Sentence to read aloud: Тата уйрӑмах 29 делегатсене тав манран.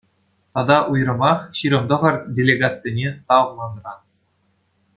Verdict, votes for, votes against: rejected, 0, 2